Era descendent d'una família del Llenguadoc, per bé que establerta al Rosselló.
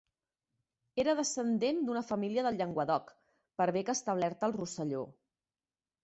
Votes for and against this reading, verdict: 2, 0, accepted